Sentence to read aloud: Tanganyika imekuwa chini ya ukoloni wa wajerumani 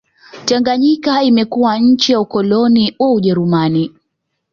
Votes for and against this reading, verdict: 0, 2, rejected